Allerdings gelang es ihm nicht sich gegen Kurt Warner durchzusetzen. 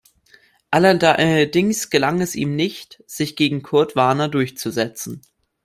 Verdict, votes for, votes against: rejected, 1, 2